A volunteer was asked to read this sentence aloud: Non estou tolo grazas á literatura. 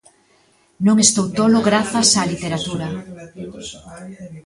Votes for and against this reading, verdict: 1, 2, rejected